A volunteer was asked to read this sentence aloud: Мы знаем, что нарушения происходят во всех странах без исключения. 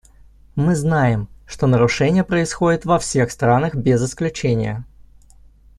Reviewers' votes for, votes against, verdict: 2, 0, accepted